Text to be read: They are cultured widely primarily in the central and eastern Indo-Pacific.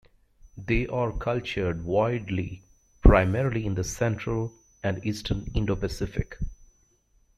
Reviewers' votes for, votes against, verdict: 3, 0, accepted